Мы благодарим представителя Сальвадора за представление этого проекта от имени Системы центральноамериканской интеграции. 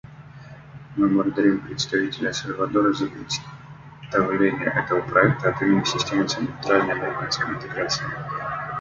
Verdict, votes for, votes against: rejected, 0, 2